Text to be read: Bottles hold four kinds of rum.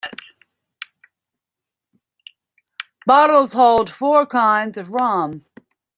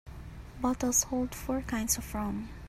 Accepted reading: second